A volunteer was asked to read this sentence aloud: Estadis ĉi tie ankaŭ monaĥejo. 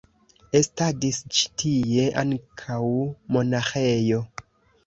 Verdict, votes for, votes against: accepted, 2, 0